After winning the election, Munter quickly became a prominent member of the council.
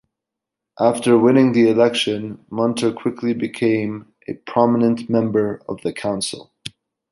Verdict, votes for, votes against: accepted, 2, 0